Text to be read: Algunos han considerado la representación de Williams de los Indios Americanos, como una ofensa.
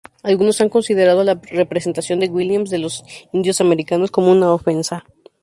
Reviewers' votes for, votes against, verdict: 0, 2, rejected